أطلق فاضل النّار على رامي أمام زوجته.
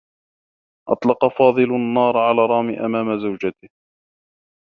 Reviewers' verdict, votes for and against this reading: rejected, 1, 2